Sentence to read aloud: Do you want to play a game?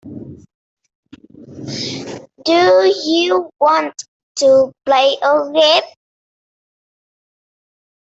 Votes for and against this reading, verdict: 2, 1, accepted